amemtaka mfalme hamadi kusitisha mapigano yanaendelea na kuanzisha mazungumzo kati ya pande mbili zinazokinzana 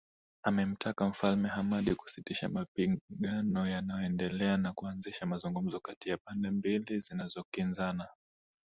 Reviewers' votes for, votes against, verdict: 4, 2, accepted